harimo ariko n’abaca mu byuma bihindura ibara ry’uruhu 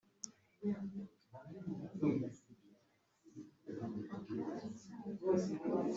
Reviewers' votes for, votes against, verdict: 0, 3, rejected